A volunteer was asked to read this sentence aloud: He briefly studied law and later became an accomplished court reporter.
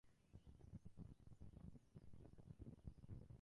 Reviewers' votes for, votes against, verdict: 0, 2, rejected